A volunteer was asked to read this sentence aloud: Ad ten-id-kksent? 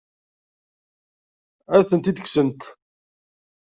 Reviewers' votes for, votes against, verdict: 0, 2, rejected